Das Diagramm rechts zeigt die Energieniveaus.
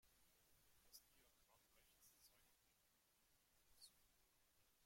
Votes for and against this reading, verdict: 0, 2, rejected